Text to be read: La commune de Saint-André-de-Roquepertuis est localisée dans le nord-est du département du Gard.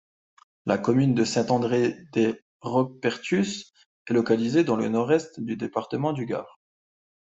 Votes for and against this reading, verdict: 0, 2, rejected